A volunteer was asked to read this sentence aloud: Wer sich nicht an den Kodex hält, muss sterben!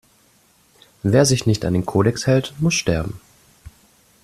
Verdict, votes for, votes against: accepted, 2, 0